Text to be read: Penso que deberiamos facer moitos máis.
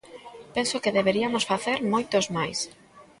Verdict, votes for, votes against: rejected, 1, 2